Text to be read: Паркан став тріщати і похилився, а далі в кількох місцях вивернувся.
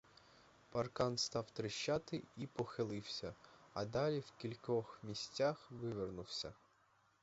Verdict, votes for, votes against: rejected, 0, 2